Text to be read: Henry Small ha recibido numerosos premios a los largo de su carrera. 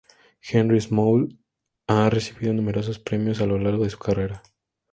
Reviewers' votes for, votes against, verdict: 0, 2, rejected